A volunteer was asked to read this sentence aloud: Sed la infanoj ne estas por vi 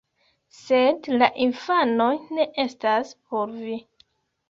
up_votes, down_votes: 2, 1